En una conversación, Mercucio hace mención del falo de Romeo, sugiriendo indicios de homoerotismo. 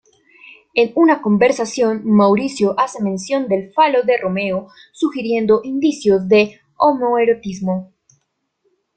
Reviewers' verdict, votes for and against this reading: rejected, 0, 2